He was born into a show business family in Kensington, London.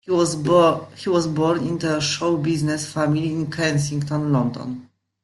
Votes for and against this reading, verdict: 1, 2, rejected